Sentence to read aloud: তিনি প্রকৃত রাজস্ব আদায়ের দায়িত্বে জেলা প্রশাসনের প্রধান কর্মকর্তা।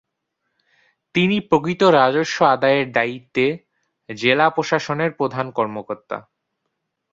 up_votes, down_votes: 4, 0